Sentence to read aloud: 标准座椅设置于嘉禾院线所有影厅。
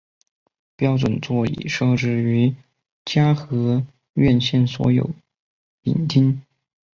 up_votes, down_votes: 4, 0